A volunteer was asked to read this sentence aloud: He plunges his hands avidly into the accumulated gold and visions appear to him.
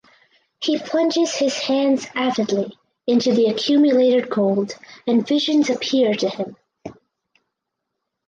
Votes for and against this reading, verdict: 4, 2, accepted